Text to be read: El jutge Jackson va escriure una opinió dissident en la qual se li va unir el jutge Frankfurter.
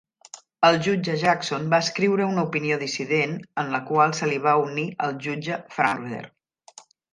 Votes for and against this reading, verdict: 1, 2, rejected